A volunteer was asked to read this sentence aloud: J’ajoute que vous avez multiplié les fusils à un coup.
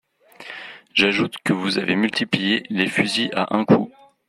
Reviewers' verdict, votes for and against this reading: accepted, 2, 1